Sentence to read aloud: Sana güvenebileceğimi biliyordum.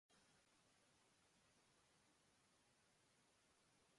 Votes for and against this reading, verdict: 0, 2, rejected